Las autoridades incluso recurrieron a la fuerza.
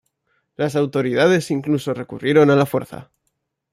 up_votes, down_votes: 2, 0